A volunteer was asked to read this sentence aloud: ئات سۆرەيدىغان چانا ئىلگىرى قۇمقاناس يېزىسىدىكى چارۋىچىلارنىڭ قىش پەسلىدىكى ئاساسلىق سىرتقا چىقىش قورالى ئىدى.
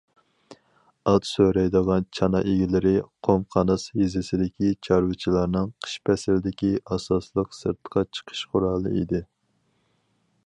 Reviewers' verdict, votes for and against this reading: rejected, 0, 4